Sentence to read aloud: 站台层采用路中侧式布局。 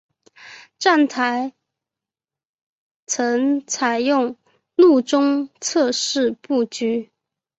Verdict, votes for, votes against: rejected, 2, 3